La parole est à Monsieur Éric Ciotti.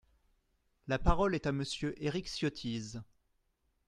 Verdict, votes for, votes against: rejected, 0, 2